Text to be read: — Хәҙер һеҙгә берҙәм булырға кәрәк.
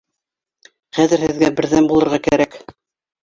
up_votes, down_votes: 2, 0